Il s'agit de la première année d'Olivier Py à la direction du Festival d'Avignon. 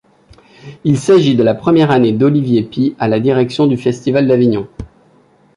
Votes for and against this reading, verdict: 2, 0, accepted